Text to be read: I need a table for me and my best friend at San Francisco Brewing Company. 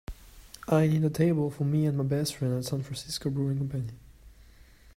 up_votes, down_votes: 2, 0